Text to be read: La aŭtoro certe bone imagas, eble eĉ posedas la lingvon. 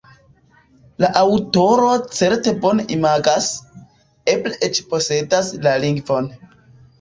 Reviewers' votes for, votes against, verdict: 2, 0, accepted